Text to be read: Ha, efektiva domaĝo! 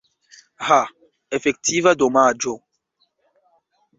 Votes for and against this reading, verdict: 2, 0, accepted